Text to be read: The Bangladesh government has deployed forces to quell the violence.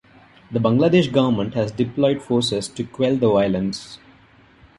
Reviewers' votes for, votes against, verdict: 0, 2, rejected